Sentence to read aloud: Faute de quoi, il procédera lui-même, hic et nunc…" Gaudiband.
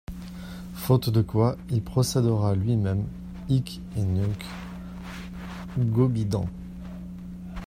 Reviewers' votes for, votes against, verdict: 1, 2, rejected